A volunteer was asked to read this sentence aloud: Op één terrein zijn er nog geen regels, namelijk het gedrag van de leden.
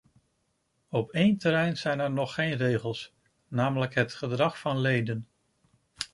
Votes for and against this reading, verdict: 0, 2, rejected